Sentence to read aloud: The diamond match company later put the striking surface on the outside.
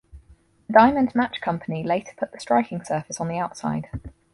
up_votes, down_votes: 4, 0